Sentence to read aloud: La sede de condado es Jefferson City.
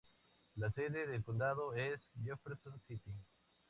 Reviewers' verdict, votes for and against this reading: rejected, 0, 2